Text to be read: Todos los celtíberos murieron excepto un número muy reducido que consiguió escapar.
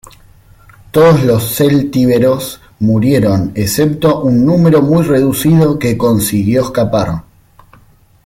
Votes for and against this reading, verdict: 2, 1, accepted